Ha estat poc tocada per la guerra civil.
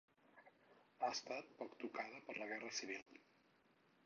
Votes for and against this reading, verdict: 2, 4, rejected